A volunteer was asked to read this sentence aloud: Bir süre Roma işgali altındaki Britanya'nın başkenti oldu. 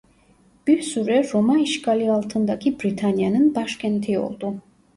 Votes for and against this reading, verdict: 1, 3, rejected